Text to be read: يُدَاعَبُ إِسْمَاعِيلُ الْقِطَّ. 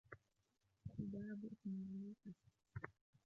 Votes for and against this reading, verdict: 1, 2, rejected